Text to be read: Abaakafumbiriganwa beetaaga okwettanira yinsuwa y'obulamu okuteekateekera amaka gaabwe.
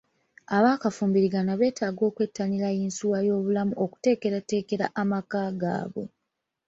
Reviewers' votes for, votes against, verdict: 2, 0, accepted